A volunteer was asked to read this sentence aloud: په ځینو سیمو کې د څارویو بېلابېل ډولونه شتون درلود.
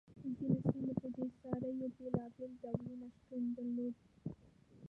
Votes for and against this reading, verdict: 1, 2, rejected